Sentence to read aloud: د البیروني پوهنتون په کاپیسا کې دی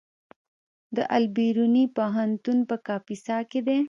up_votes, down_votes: 1, 2